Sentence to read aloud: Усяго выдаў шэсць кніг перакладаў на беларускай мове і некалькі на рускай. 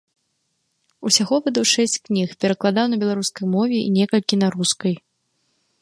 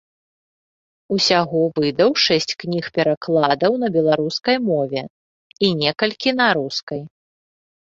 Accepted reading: second